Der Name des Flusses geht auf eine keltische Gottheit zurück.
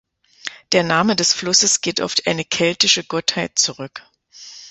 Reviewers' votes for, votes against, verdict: 2, 1, accepted